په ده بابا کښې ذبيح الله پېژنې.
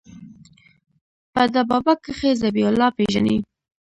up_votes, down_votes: 1, 2